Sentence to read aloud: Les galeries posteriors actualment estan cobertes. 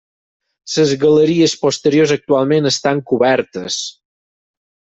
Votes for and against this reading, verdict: 6, 0, accepted